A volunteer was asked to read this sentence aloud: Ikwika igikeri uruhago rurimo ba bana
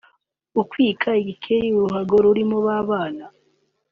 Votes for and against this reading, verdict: 1, 2, rejected